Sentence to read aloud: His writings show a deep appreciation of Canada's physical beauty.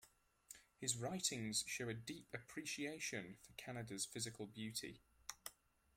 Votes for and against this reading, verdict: 2, 0, accepted